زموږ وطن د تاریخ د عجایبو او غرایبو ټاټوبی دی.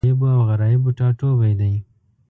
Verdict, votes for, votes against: rejected, 1, 2